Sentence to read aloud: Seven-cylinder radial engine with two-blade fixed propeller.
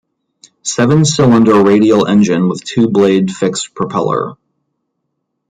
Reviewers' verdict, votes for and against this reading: accepted, 2, 0